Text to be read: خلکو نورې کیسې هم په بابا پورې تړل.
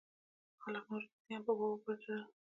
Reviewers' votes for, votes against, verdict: 1, 2, rejected